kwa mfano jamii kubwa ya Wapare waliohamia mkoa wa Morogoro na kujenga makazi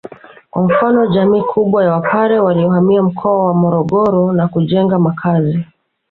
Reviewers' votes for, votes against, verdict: 0, 2, rejected